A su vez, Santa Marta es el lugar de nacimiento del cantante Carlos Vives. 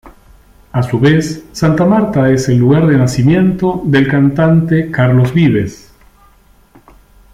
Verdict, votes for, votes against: accepted, 2, 0